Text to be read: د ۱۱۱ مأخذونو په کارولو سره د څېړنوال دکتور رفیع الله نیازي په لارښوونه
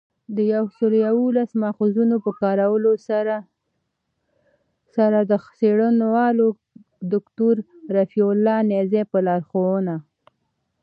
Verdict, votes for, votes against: rejected, 0, 2